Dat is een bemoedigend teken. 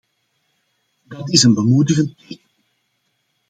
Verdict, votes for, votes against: rejected, 0, 2